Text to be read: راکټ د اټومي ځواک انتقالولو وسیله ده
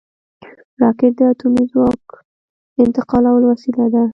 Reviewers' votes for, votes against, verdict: 2, 0, accepted